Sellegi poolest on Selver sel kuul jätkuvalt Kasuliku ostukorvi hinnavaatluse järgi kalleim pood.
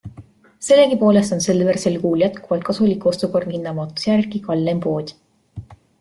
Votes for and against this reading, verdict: 2, 0, accepted